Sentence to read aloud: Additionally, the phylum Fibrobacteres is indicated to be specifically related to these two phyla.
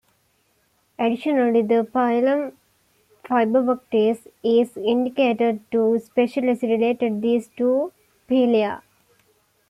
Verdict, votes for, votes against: rejected, 0, 2